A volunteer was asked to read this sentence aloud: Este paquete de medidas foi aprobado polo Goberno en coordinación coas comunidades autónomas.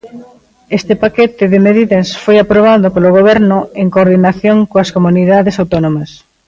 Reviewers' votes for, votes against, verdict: 2, 0, accepted